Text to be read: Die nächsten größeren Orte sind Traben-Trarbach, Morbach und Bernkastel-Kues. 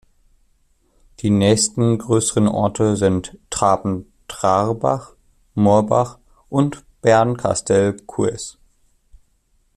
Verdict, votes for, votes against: rejected, 0, 2